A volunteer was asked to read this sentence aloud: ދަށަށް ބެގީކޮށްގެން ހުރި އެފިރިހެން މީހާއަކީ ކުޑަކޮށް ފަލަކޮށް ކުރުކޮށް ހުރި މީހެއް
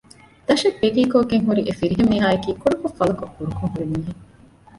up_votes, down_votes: 0, 2